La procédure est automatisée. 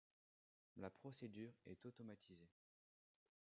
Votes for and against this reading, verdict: 1, 2, rejected